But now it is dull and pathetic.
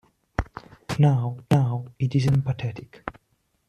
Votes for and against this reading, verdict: 0, 2, rejected